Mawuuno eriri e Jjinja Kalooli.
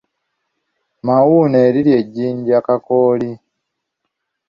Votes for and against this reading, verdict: 0, 2, rejected